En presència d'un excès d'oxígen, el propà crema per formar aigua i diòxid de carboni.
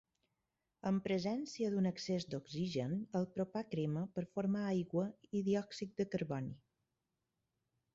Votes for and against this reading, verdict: 2, 4, rejected